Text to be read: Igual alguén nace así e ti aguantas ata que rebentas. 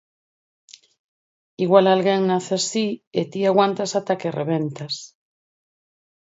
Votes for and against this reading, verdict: 4, 0, accepted